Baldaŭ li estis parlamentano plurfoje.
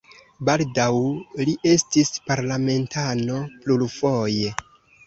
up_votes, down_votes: 2, 0